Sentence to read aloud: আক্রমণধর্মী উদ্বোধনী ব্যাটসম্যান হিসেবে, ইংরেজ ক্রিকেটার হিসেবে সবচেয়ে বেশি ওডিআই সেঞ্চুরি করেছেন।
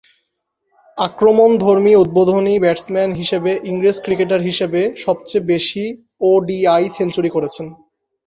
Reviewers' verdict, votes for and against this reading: rejected, 0, 2